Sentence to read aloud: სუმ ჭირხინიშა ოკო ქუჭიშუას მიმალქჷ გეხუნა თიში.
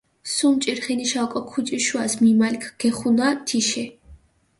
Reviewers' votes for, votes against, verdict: 2, 0, accepted